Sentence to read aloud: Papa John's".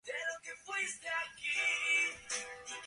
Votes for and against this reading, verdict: 0, 4, rejected